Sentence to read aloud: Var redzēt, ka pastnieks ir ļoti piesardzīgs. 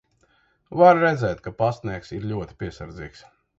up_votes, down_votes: 2, 0